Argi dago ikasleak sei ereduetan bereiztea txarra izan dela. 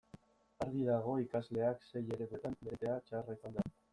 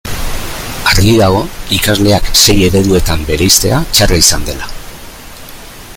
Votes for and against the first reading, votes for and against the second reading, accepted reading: 1, 2, 3, 0, second